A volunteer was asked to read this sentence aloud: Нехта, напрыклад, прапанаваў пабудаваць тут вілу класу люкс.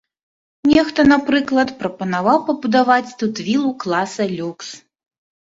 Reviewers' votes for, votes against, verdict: 0, 3, rejected